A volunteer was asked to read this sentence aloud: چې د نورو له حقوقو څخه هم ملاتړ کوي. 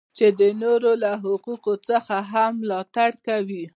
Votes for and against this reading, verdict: 2, 0, accepted